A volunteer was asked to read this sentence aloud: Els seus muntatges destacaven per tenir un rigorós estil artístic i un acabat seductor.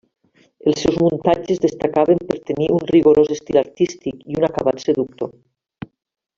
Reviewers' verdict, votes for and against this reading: accepted, 3, 0